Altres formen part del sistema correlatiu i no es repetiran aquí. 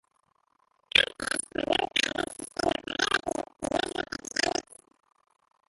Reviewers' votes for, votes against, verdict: 0, 3, rejected